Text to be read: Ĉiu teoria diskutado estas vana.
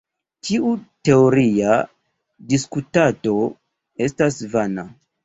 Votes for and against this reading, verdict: 0, 2, rejected